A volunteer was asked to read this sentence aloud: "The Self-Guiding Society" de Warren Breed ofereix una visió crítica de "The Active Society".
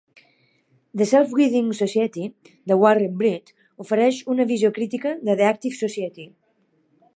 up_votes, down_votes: 1, 2